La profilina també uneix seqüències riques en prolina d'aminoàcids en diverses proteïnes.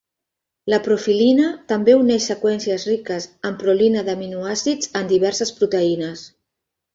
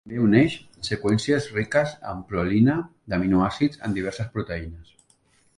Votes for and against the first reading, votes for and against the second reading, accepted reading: 2, 0, 0, 2, first